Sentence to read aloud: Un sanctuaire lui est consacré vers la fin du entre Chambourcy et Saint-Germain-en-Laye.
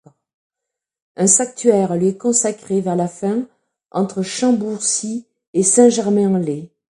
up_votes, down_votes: 1, 2